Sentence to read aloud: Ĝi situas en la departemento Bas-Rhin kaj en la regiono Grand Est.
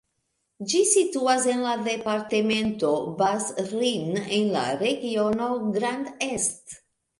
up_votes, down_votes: 1, 2